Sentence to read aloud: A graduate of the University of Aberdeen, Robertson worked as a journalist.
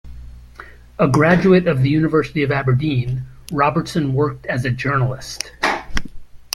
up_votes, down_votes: 2, 0